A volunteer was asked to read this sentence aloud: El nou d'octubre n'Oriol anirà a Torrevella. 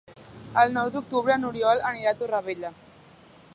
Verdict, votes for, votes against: accepted, 2, 0